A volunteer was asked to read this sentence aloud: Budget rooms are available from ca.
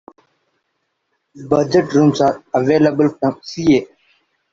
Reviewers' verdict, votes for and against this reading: rejected, 0, 2